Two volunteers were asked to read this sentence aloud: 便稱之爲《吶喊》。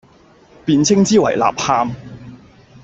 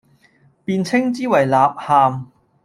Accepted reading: first